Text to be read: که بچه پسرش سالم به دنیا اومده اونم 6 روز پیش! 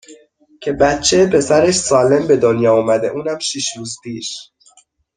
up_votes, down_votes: 0, 2